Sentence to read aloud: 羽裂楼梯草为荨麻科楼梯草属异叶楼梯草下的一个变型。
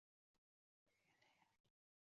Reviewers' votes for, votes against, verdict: 2, 1, accepted